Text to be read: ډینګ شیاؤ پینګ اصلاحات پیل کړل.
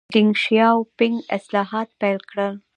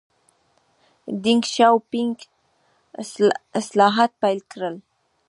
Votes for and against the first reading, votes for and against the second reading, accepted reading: 2, 0, 1, 2, first